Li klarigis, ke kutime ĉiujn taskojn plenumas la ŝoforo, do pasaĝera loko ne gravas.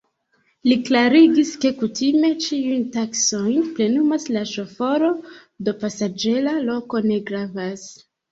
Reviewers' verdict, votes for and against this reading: rejected, 1, 2